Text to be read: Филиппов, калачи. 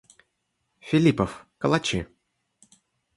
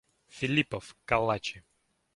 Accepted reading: first